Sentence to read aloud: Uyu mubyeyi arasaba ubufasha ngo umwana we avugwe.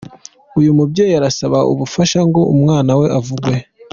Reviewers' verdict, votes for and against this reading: accepted, 3, 0